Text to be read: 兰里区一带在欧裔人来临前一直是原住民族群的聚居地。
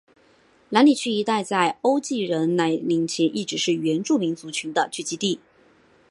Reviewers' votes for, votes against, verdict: 2, 3, rejected